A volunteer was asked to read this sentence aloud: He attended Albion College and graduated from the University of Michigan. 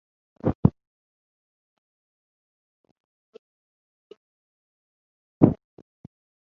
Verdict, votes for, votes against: rejected, 0, 3